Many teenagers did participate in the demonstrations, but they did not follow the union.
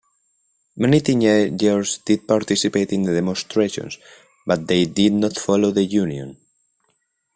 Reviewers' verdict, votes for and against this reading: rejected, 1, 2